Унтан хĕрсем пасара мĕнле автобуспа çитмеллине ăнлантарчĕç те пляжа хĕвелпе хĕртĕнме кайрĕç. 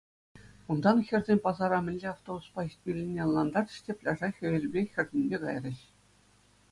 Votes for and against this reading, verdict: 2, 0, accepted